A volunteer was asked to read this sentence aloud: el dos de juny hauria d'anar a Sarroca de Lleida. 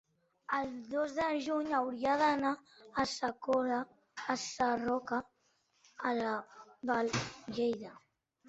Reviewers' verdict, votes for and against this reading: rejected, 1, 3